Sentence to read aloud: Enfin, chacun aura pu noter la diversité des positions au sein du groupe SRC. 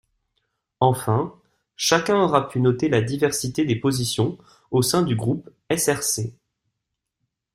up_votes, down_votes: 2, 0